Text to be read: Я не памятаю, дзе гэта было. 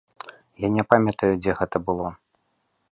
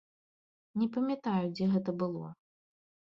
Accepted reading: first